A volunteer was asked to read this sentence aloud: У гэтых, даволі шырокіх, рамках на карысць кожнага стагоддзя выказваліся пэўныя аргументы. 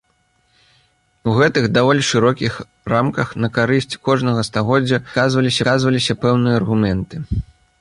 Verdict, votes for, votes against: rejected, 0, 2